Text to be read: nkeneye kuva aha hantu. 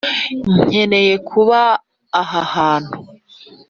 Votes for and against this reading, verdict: 2, 1, accepted